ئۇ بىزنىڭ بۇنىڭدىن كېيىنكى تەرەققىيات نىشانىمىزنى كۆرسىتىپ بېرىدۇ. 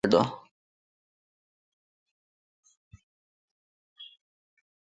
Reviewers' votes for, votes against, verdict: 0, 2, rejected